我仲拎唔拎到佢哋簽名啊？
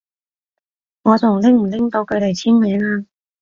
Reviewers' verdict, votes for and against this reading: accepted, 2, 0